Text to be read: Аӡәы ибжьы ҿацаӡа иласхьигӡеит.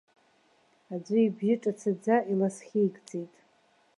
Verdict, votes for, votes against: rejected, 0, 2